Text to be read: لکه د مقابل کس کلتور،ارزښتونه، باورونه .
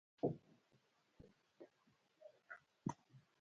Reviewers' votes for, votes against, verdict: 1, 2, rejected